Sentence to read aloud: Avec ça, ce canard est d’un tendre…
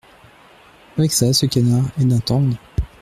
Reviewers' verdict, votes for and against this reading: accepted, 2, 0